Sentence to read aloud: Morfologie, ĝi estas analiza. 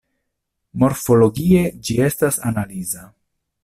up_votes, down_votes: 2, 0